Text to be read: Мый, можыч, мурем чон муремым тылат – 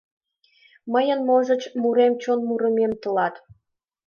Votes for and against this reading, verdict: 1, 2, rejected